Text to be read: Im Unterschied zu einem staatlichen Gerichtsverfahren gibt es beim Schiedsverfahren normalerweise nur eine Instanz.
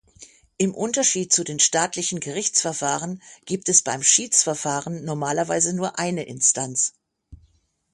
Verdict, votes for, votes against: rejected, 0, 6